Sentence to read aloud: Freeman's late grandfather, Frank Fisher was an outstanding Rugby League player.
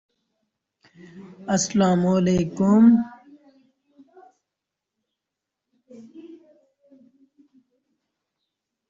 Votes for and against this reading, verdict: 0, 2, rejected